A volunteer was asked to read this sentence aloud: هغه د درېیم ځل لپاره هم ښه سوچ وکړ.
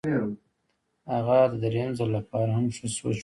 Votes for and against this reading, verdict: 2, 0, accepted